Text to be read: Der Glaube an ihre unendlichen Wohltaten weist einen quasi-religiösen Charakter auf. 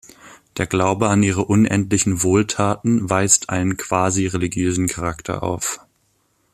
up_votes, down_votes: 2, 0